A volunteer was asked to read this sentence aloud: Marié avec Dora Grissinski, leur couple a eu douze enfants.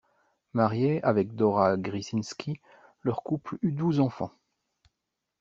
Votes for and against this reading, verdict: 0, 2, rejected